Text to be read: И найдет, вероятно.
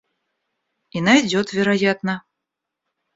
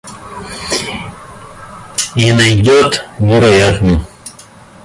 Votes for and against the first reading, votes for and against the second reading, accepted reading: 2, 0, 1, 2, first